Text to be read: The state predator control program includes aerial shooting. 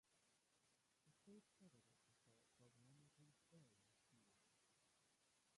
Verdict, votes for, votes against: rejected, 0, 2